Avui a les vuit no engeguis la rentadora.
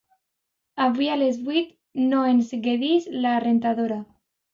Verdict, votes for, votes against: rejected, 1, 2